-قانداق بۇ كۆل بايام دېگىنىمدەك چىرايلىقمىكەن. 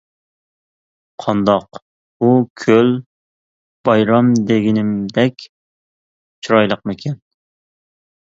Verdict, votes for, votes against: rejected, 0, 2